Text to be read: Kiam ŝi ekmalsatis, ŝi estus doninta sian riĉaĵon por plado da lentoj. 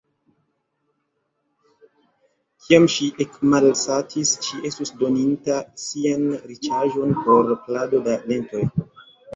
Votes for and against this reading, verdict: 2, 0, accepted